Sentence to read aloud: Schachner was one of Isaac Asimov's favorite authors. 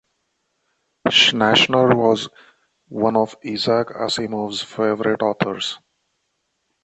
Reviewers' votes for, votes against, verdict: 1, 2, rejected